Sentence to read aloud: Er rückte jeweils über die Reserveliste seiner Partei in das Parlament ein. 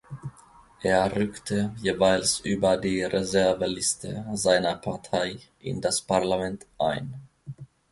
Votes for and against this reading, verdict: 2, 0, accepted